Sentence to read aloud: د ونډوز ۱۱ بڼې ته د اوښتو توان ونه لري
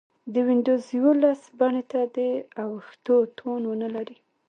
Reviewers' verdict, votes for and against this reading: rejected, 0, 2